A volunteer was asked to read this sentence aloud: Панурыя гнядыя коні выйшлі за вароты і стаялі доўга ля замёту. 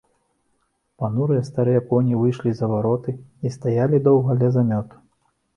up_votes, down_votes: 0, 3